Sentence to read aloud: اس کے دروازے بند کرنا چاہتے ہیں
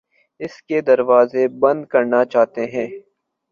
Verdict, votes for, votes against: accepted, 2, 0